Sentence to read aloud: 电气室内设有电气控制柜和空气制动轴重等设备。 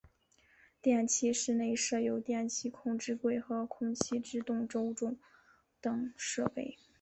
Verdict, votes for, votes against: accepted, 4, 2